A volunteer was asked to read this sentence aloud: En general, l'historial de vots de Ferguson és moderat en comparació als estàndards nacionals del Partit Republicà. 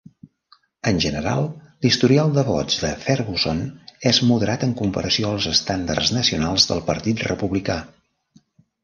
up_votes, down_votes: 3, 0